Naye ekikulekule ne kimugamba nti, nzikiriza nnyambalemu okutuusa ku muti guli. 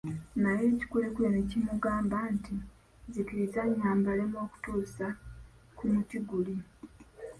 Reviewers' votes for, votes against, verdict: 2, 1, accepted